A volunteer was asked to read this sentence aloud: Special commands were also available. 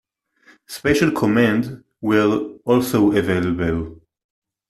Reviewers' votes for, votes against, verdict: 1, 2, rejected